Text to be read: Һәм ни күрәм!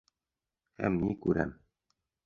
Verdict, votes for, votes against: accepted, 3, 0